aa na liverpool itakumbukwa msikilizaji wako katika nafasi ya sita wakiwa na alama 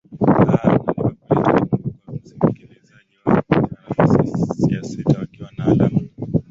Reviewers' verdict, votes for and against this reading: rejected, 0, 2